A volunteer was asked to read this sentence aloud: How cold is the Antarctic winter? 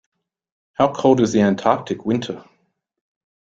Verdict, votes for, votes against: accepted, 2, 0